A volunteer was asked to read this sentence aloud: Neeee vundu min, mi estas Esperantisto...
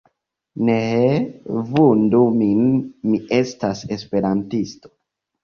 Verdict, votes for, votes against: accepted, 2, 1